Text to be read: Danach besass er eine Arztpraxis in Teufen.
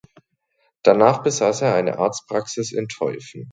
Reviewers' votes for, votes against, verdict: 3, 0, accepted